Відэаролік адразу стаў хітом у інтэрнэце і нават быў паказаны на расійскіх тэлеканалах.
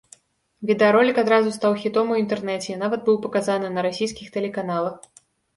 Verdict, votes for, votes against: accepted, 2, 0